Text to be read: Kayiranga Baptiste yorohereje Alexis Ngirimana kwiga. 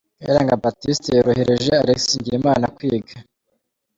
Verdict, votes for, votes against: accepted, 3, 0